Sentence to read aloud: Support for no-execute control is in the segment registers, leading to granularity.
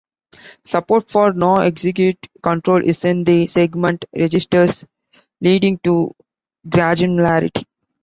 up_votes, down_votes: 0, 2